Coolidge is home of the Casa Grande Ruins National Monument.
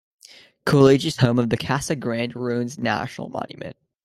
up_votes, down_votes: 1, 2